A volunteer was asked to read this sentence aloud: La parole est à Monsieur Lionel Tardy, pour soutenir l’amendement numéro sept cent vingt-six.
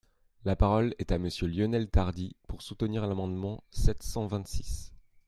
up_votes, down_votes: 1, 3